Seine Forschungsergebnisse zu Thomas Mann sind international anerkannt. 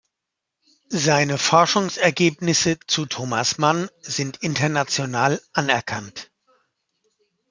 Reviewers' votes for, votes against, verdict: 2, 0, accepted